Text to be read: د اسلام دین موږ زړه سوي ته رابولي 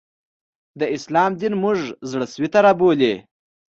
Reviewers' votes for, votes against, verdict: 2, 0, accepted